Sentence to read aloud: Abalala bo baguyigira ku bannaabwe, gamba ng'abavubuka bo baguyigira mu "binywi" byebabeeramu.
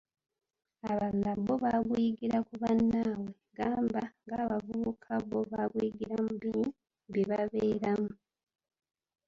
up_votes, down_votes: 0, 2